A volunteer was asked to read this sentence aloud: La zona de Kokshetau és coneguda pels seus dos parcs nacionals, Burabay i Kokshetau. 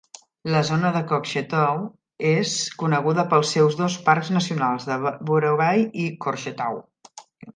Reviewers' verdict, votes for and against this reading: rejected, 0, 2